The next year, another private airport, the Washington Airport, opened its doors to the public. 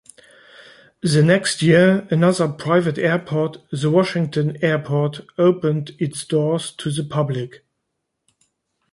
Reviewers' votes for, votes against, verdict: 2, 0, accepted